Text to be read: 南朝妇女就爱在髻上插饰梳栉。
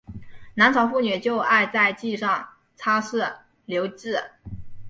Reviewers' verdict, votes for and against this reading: accepted, 4, 1